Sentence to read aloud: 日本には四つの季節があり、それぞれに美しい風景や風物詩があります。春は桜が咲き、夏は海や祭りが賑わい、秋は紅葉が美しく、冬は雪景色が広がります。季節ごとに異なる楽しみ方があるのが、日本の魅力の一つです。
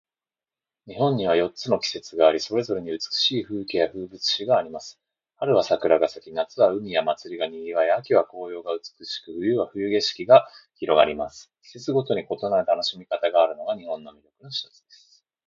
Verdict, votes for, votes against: rejected, 1, 2